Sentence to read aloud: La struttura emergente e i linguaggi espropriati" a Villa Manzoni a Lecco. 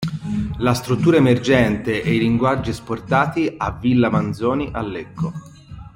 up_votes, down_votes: 1, 2